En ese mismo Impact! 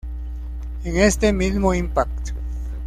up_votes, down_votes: 1, 2